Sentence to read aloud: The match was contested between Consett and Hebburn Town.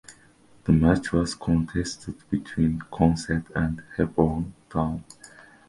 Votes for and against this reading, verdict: 3, 2, accepted